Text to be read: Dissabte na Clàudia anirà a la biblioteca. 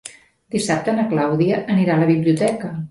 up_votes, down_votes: 1, 2